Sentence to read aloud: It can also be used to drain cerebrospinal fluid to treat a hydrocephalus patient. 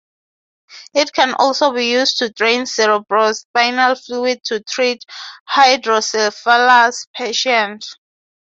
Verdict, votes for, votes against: rejected, 0, 3